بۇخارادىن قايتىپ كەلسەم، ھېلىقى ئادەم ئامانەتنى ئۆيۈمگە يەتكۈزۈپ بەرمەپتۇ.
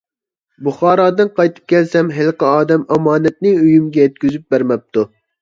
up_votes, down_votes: 3, 0